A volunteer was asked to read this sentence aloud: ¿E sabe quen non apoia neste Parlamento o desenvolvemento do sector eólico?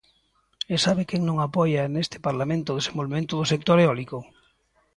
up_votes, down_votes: 2, 0